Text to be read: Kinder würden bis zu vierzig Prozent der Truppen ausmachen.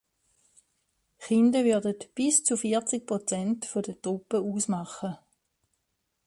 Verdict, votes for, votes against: accepted, 2, 1